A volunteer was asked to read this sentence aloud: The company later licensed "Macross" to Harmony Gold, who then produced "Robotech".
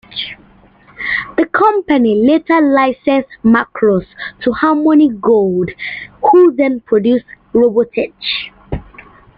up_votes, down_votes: 0, 2